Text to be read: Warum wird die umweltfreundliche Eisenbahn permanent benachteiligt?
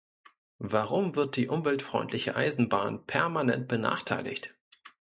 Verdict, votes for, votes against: accepted, 2, 0